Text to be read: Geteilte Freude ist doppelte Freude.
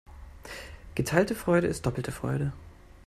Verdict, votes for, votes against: accepted, 2, 0